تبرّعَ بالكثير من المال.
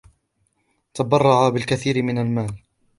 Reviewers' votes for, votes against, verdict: 1, 2, rejected